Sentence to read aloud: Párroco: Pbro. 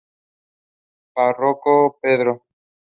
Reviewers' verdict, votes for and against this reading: accepted, 2, 0